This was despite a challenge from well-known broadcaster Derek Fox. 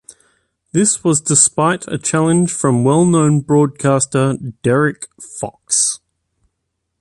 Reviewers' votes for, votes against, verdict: 2, 0, accepted